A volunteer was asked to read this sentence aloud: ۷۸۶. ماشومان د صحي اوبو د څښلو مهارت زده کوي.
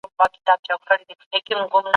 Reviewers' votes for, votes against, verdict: 0, 2, rejected